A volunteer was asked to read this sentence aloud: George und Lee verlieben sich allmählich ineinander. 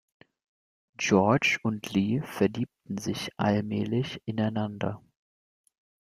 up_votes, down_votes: 0, 2